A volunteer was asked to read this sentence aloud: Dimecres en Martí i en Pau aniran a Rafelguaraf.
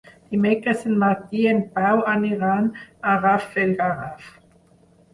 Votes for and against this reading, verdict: 0, 4, rejected